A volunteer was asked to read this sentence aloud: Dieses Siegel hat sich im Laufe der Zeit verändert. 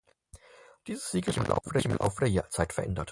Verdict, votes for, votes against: rejected, 0, 4